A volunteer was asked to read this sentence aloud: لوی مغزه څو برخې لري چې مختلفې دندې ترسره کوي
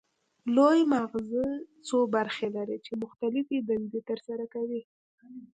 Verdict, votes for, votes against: rejected, 0, 2